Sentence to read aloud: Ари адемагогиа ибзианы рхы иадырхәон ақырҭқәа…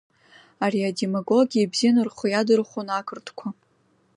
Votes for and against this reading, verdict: 3, 0, accepted